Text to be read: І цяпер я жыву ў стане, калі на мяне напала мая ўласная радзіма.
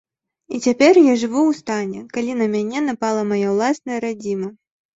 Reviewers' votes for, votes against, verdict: 2, 0, accepted